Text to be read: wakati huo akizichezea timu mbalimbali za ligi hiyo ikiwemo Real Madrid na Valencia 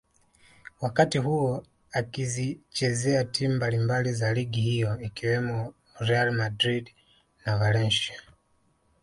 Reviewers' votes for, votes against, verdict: 2, 0, accepted